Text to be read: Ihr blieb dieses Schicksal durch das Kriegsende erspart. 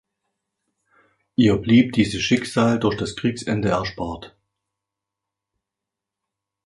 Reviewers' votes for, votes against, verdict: 2, 0, accepted